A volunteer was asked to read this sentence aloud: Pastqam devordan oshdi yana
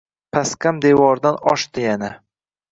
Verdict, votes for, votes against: rejected, 0, 2